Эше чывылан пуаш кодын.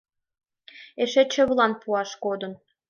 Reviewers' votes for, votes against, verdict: 2, 0, accepted